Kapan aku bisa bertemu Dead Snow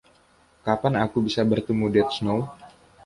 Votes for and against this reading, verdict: 2, 0, accepted